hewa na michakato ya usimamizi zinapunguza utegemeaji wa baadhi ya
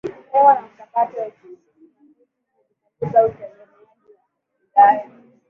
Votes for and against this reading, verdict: 0, 7, rejected